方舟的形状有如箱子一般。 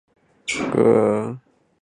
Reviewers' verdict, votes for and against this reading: rejected, 1, 2